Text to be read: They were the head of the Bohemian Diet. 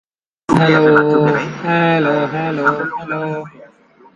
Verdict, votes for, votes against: rejected, 0, 2